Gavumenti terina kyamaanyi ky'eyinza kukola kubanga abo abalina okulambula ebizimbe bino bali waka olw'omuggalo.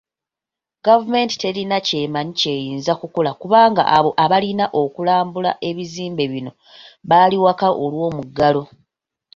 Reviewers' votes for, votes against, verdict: 3, 1, accepted